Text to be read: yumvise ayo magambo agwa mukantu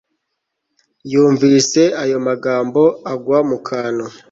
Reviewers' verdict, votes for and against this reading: accepted, 2, 0